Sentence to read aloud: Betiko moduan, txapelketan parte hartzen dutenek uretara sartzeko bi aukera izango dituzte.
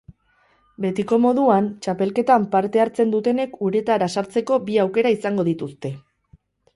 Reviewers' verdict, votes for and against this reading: accepted, 4, 0